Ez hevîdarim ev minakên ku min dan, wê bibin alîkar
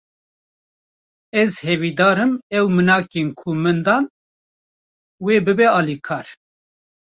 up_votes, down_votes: 0, 2